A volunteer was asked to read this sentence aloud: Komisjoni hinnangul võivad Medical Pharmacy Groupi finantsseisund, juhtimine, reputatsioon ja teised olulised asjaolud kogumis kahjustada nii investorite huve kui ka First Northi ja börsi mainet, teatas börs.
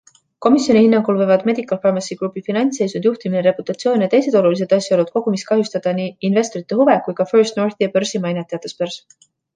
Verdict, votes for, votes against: accepted, 2, 0